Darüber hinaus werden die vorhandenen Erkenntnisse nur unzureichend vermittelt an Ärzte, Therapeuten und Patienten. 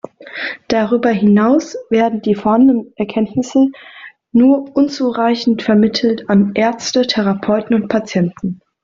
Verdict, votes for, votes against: accepted, 2, 0